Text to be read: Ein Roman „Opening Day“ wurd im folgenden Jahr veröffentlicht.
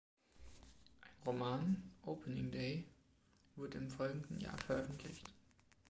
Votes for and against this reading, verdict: 2, 0, accepted